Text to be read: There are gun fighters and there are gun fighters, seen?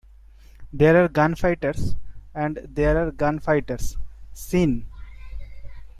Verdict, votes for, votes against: accepted, 2, 0